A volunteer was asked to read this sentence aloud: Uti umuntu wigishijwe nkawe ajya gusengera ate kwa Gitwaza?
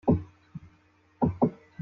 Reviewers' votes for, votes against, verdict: 0, 3, rejected